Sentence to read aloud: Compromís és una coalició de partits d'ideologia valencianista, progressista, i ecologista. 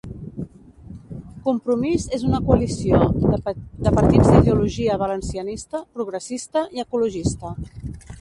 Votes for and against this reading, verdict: 0, 2, rejected